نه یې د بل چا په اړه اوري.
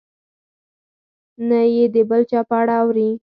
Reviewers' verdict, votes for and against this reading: accepted, 4, 0